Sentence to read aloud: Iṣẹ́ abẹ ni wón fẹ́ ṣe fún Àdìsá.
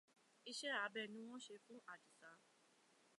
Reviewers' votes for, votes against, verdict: 1, 2, rejected